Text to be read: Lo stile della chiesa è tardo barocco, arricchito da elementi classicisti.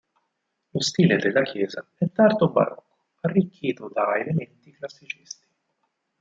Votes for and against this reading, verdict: 0, 4, rejected